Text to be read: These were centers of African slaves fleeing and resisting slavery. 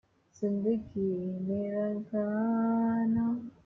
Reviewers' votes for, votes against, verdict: 0, 2, rejected